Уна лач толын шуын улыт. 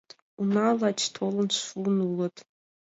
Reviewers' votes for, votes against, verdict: 2, 0, accepted